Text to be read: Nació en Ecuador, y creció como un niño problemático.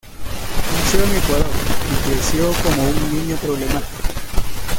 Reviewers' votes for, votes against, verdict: 0, 2, rejected